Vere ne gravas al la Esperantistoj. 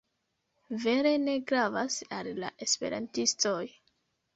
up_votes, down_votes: 2, 0